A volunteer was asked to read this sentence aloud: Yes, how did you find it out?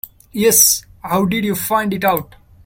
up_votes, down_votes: 2, 0